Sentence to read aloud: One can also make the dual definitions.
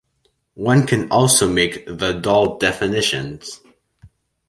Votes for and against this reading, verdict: 1, 3, rejected